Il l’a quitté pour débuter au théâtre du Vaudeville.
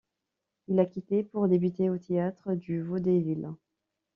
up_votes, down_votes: 1, 2